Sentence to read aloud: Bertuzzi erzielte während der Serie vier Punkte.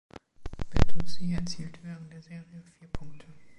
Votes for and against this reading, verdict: 1, 2, rejected